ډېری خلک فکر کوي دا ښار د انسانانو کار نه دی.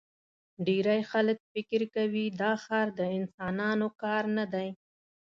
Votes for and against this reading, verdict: 2, 0, accepted